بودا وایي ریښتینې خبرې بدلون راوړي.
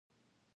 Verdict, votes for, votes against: rejected, 0, 2